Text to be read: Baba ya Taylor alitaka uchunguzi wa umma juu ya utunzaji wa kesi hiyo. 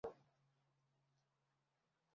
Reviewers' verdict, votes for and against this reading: rejected, 0, 2